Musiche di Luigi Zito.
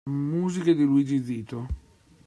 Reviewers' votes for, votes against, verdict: 2, 1, accepted